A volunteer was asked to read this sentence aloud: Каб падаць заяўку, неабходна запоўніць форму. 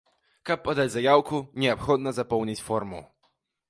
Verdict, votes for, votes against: accepted, 2, 0